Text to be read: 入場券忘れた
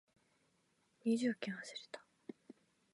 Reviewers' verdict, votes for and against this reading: rejected, 1, 2